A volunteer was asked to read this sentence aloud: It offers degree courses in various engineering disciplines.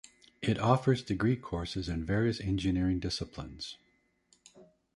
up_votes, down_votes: 1, 2